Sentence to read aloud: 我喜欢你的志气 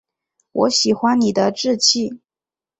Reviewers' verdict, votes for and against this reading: accepted, 2, 0